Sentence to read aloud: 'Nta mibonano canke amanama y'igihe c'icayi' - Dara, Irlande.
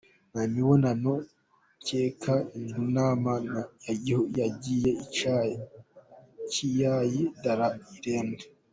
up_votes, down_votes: 0, 2